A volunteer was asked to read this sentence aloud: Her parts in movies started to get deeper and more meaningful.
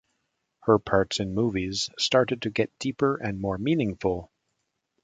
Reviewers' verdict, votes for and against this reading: accepted, 2, 0